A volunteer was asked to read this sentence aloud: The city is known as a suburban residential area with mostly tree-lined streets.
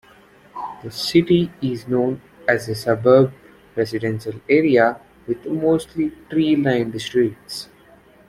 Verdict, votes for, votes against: rejected, 0, 2